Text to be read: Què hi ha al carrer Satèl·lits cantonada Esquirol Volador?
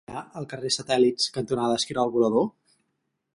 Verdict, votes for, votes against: rejected, 0, 4